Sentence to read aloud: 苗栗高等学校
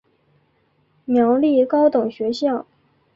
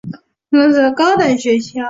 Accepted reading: first